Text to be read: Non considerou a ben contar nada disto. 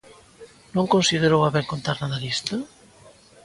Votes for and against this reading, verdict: 2, 0, accepted